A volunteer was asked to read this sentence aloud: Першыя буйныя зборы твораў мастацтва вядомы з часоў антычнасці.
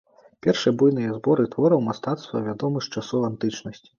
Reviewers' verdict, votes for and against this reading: rejected, 1, 2